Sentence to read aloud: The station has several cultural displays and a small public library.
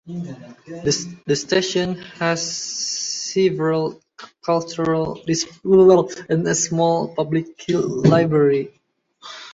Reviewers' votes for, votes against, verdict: 0, 2, rejected